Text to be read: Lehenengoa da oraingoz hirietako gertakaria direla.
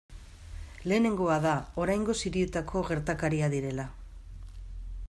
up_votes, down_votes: 2, 0